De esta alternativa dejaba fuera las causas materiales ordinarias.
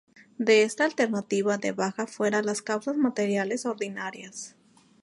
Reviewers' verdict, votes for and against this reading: rejected, 0, 4